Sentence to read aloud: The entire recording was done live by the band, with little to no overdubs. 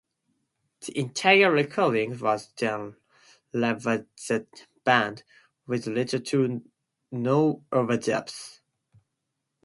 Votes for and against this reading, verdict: 0, 2, rejected